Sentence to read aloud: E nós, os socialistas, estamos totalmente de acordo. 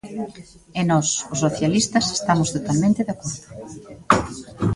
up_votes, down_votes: 1, 2